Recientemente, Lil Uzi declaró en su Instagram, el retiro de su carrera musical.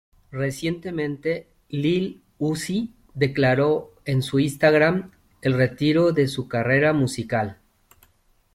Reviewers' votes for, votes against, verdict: 2, 0, accepted